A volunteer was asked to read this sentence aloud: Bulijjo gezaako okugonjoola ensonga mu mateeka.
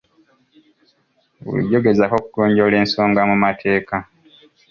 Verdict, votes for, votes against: accepted, 3, 0